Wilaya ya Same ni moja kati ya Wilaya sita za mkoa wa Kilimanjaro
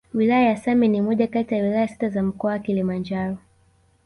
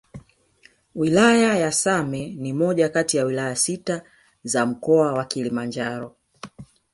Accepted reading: first